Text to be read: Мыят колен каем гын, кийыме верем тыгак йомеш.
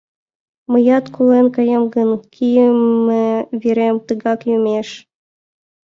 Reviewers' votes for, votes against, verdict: 2, 1, accepted